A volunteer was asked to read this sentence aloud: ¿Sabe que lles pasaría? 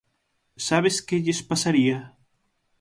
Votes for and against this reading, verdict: 0, 6, rejected